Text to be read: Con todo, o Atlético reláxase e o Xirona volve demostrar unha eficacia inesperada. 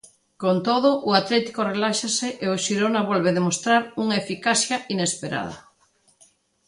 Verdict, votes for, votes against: accepted, 2, 0